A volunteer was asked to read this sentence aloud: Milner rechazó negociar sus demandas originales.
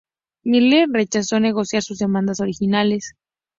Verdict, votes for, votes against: accepted, 2, 0